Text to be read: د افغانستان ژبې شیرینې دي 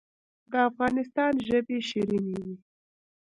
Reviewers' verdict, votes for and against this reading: accepted, 2, 0